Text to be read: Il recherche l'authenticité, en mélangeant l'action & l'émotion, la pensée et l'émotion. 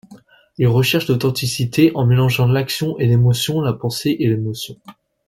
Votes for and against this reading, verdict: 2, 0, accepted